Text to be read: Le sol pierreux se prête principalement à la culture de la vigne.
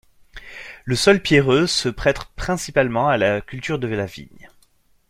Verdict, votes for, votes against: rejected, 0, 2